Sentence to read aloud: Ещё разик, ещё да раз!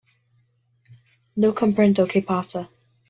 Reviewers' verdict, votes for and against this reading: rejected, 1, 2